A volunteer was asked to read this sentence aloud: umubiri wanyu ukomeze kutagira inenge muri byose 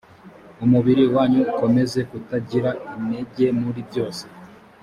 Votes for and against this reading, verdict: 2, 1, accepted